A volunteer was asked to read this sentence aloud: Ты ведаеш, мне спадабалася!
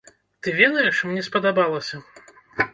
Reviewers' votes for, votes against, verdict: 2, 0, accepted